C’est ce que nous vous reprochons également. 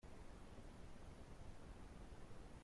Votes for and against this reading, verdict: 0, 3, rejected